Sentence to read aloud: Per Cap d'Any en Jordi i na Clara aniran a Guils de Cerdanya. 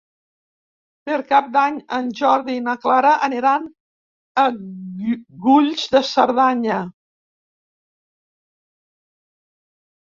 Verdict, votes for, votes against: rejected, 1, 2